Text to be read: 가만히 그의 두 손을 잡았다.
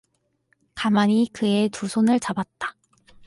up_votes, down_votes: 4, 0